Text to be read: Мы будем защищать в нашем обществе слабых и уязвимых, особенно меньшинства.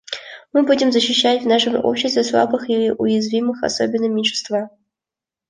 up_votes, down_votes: 1, 2